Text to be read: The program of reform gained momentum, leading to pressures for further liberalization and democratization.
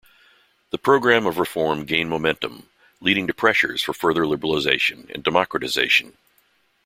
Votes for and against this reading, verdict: 2, 0, accepted